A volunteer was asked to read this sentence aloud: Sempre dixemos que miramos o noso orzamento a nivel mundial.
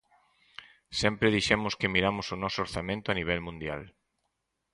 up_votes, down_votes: 4, 0